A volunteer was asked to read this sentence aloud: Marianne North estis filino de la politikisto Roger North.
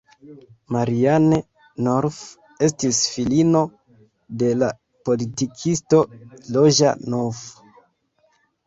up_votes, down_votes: 1, 2